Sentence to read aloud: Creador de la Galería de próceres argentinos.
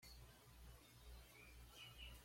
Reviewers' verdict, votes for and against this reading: rejected, 1, 2